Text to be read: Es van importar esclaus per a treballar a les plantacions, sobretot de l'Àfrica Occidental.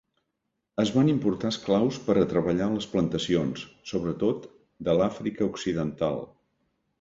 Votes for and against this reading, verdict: 1, 2, rejected